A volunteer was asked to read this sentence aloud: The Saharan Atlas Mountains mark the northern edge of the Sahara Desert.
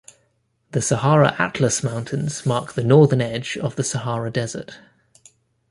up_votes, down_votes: 0, 2